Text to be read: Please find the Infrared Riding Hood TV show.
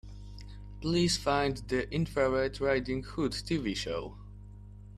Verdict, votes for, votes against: accepted, 2, 1